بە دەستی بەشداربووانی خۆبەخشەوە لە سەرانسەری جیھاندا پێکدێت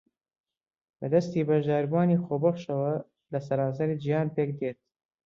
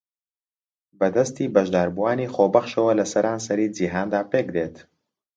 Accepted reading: second